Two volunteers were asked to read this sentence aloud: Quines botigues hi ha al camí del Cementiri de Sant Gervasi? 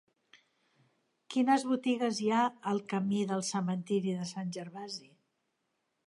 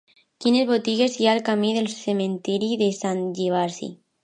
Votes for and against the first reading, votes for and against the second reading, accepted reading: 3, 0, 1, 4, first